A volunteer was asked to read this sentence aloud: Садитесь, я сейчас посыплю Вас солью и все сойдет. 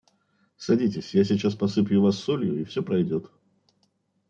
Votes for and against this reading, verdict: 1, 2, rejected